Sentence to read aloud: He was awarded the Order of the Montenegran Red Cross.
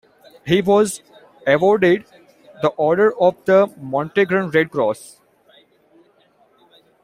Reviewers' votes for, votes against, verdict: 2, 1, accepted